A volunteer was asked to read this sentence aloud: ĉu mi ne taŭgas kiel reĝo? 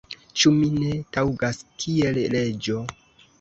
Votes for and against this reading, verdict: 1, 2, rejected